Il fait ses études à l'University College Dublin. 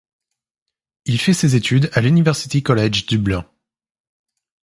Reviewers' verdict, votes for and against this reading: accepted, 2, 0